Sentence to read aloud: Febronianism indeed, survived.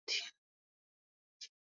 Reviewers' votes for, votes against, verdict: 0, 2, rejected